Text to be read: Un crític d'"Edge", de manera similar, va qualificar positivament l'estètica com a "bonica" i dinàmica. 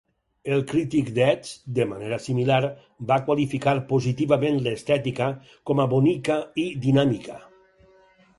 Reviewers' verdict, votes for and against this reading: rejected, 4, 6